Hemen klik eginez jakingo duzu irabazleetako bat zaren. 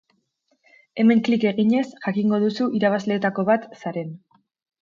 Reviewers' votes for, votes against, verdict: 2, 0, accepted